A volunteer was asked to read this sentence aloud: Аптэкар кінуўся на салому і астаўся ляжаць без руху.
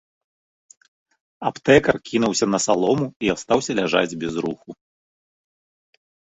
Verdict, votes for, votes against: accepted, 3, 0